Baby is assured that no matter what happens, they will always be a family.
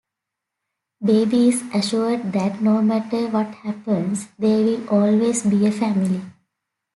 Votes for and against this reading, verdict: 2, 0, accepted